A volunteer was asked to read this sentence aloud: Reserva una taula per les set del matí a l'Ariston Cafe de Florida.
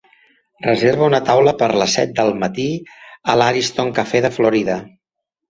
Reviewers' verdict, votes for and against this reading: accepted, 2, 0